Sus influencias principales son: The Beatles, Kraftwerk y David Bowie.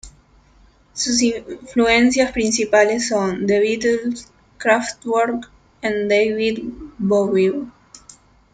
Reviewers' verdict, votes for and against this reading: rejected, 0, 2